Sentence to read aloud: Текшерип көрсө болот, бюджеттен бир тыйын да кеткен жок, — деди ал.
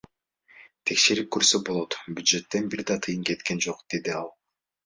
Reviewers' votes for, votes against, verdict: 2, 1, accepted